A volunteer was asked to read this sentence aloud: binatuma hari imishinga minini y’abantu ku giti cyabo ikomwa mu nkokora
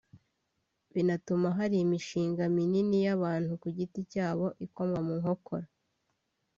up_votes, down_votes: 2, 1